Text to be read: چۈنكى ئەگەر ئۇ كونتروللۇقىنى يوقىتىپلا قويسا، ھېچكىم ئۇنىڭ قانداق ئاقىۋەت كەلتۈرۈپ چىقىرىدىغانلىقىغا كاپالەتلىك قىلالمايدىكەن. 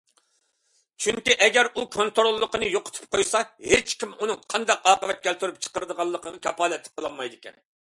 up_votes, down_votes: 0, 2